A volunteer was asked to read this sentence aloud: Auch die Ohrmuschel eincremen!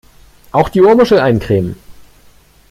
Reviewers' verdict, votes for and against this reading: accepted, 2, 0